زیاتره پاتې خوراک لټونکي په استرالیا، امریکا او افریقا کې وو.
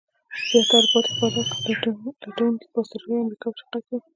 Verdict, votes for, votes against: rejected, 0, 2